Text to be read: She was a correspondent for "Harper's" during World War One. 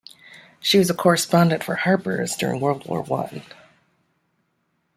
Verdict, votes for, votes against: accepted, 2, 0